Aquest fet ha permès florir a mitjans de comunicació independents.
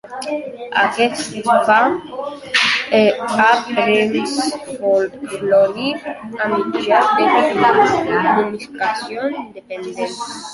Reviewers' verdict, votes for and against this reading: rejected, 0, 2